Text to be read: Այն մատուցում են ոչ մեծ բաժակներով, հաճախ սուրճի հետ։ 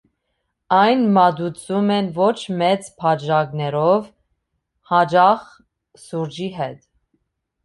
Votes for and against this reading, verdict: 2, 0, accepted